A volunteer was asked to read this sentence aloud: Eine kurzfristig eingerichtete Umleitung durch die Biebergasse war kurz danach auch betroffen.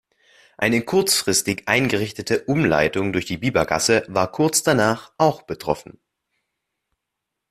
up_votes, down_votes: 2, 0